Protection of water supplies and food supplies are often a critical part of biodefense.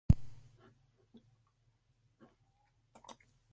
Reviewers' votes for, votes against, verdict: 0, 2, rejected